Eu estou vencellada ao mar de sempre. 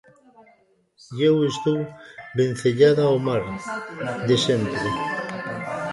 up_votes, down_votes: 0, 2